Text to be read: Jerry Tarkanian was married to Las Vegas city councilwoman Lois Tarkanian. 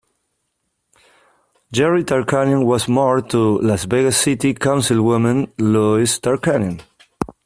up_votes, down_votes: 1, 2